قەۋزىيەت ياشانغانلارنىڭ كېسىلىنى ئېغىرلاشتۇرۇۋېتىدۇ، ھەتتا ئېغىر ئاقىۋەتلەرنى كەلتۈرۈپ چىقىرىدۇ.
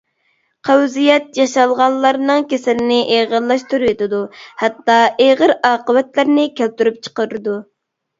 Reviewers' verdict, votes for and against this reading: rejected, 1, 2